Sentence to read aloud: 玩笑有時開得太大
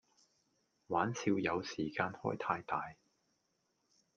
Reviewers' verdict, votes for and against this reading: rejected, 0, 2